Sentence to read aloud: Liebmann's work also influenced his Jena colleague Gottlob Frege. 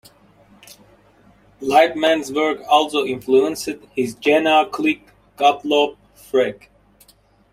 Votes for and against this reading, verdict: 1, 2, rejected